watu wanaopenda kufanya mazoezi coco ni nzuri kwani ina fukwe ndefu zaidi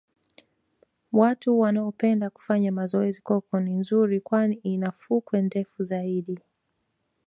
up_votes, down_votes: 1, 2